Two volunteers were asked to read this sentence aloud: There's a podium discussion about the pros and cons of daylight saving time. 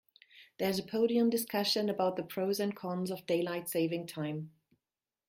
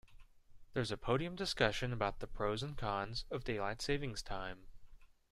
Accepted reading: second